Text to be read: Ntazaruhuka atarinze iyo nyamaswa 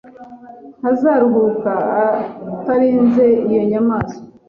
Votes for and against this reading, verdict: 2, 0, accepted